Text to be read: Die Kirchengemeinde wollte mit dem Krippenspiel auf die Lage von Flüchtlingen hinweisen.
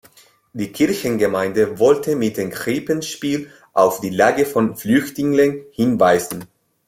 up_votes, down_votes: 1, 2